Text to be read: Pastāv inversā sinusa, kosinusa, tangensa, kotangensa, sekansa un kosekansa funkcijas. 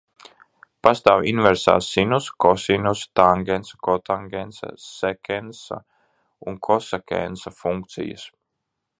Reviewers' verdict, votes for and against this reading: rejected, 0, 2